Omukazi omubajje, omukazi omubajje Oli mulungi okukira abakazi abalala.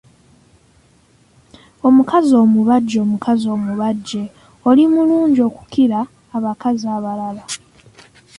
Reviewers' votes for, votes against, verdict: 2, 0, accepted